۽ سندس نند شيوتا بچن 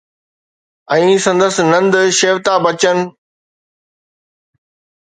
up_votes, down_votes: 2, 0